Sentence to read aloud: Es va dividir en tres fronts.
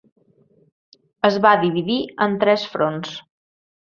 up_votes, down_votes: 3, 0